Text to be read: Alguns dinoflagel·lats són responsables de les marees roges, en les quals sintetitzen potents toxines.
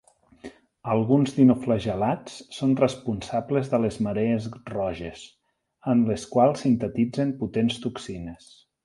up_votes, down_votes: 6, 0